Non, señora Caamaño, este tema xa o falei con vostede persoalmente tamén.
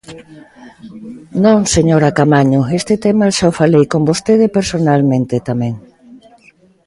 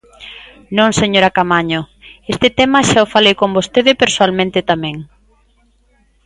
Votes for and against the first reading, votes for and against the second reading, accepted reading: 0, 2, 2, 0, second